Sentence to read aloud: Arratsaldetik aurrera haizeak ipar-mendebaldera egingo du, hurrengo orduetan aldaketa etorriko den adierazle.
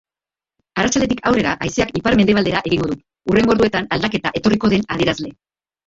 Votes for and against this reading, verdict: 1, 2, rejected